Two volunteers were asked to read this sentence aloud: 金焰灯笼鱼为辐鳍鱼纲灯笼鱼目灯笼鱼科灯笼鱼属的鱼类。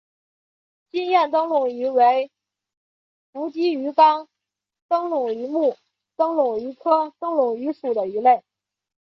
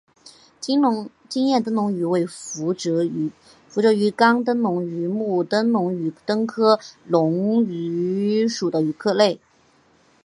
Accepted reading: first